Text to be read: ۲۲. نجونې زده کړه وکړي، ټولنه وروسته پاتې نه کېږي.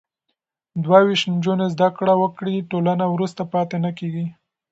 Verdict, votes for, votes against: rejected, 0, 2